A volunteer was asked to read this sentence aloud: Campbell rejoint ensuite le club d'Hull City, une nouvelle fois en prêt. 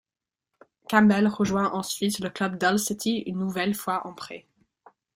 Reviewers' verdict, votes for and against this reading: accepted, 2, 0